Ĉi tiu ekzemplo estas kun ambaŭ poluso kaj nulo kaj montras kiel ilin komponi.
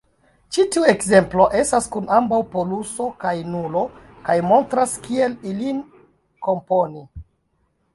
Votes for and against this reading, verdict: 1, 2, rejected